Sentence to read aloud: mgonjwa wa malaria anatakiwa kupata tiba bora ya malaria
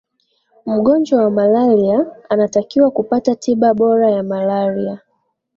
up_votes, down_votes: 1, 2